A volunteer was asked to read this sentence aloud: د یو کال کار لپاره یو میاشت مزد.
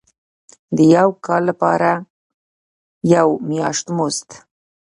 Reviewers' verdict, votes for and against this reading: accepted, 2, 0